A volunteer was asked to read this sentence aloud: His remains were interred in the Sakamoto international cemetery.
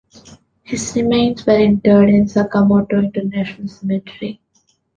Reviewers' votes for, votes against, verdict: 2, 1, accepted